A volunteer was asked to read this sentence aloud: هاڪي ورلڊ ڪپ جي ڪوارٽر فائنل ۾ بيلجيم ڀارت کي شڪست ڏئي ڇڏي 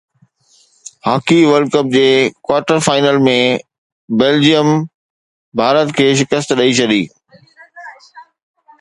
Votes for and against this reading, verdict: 2, 0, accepted